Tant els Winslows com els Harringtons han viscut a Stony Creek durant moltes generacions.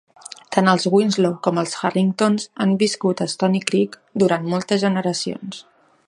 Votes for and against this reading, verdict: 2, 0, accepted